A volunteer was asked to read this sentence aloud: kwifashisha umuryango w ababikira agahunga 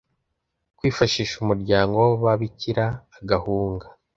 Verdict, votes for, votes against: accepted, 2, 0